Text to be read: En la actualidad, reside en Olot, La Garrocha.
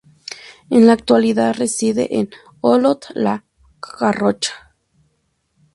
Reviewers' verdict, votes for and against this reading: accepted, 2, 0